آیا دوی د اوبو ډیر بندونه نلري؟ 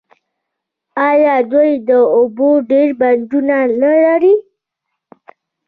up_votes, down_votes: 0, 2